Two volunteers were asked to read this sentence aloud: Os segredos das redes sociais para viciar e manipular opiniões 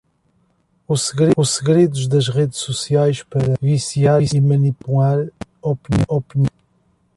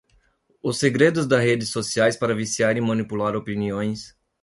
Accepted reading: second